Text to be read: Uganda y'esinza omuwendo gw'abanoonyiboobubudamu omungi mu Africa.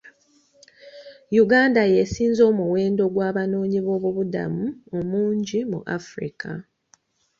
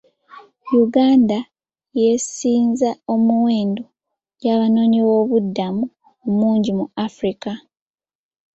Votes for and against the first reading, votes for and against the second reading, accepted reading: 2, 0, 1, 2, first